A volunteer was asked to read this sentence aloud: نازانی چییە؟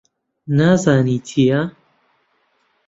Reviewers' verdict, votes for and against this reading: accepted, 2, 0